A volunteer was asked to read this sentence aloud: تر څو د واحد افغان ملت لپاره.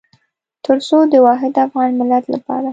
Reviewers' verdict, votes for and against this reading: accepted, 2, 0